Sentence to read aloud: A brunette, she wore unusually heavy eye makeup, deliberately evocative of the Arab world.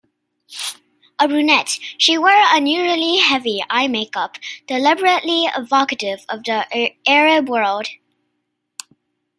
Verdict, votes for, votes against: rejected, 0, 2